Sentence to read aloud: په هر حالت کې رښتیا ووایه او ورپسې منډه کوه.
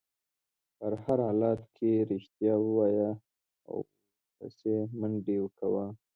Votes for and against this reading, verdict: 1, 2, rejected